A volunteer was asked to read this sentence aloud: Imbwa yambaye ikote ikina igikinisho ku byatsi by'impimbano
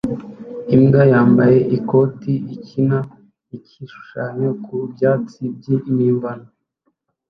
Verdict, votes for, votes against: rejected, 0, 2